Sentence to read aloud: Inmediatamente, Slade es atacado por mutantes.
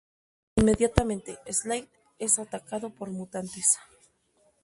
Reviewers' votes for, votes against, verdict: 0, 2, rejected